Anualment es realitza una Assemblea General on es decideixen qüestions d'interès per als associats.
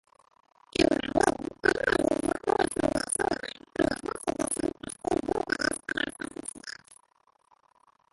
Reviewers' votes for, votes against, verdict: 0, 2, rejected